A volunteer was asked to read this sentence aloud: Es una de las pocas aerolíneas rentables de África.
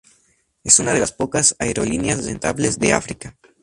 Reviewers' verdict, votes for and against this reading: rejected, 0, 2